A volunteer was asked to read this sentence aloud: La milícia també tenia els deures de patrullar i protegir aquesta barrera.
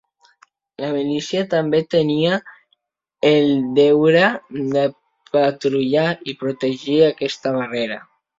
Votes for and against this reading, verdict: 0, 2, rejected